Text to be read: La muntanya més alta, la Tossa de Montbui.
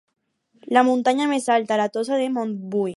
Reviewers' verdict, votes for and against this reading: accepted, 4, 0